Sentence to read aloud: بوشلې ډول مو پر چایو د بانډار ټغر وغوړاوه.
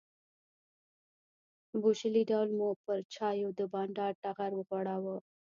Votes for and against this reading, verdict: 2, 1, accepted